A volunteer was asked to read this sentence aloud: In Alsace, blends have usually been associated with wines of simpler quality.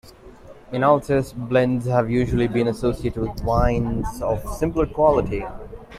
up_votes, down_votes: 2, 1